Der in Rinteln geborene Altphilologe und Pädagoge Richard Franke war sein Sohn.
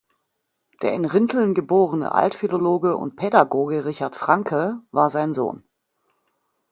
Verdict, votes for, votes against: accepted, 2, 0